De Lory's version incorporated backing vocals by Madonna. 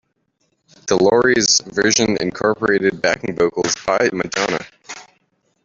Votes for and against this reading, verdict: 1, 2, rejected